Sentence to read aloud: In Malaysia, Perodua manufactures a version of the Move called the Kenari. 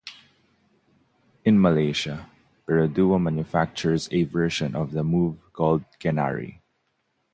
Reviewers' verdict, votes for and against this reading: accepted, 2, 0